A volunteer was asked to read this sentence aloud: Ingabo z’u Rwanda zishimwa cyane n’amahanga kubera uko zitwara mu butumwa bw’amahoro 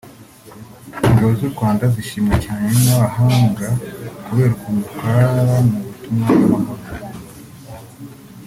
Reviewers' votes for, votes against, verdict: 0, 2, rejected